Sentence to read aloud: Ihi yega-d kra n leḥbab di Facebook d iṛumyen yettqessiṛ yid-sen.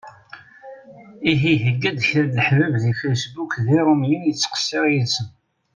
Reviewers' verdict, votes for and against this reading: accepted, 2, 0